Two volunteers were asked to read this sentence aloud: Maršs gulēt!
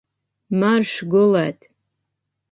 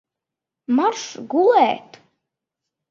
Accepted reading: first